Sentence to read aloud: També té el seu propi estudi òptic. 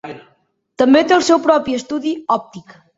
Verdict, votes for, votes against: accepted, 2, 0